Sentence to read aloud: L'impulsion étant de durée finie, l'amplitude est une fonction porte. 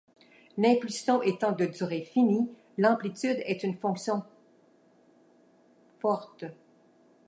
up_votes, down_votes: 0, 2